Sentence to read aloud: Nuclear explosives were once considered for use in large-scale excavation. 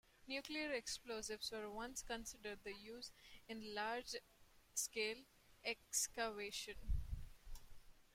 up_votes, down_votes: 0, 2